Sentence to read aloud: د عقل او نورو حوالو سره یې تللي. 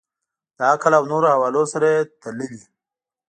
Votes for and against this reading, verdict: 2, 1, accepted